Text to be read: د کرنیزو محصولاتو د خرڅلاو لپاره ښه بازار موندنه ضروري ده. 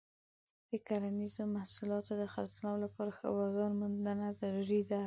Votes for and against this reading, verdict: 2, 0, accepted